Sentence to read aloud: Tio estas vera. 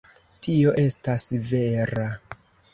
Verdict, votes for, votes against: accepted, 2, 0